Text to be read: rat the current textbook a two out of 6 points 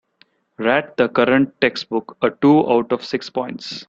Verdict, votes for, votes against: rejected, 0, 2